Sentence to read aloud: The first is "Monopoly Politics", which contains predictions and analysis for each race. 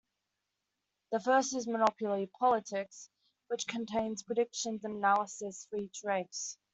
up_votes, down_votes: 1, 2